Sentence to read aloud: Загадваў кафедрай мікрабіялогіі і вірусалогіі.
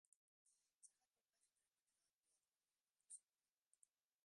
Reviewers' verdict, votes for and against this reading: rejected, 0, 2